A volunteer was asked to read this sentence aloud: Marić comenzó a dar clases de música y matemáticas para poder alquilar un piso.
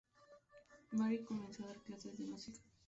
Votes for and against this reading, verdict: 0, 2, rejected